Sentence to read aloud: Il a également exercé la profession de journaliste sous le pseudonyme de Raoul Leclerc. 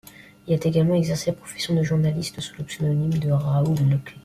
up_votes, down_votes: 0, 2